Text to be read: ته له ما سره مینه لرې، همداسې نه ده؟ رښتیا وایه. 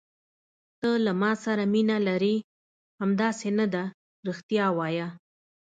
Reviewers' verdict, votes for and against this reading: accepted, 2, 0